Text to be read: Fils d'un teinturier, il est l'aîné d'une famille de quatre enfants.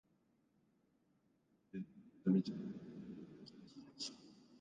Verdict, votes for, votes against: rejected, 0, 2